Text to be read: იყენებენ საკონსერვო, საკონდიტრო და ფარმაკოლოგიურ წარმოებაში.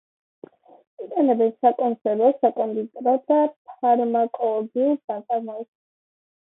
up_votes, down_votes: 0, 2